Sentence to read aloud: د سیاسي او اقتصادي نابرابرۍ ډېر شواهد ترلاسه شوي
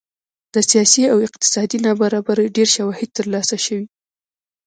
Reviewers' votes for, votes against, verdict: 1, 2, rejected